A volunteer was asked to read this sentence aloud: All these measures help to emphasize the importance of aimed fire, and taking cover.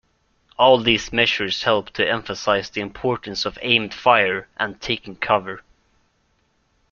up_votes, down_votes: 2, 0